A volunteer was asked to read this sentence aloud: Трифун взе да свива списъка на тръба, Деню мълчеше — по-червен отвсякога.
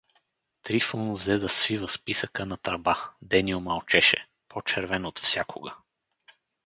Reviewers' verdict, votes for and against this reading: accepted, 4, 0